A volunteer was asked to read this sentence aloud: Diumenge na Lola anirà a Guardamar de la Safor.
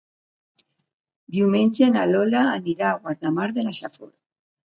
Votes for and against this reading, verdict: 2, 0, accepted